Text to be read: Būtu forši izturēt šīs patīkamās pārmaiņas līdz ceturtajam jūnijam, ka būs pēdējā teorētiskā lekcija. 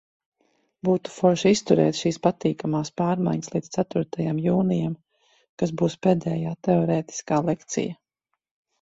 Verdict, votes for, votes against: rejected, 0, 2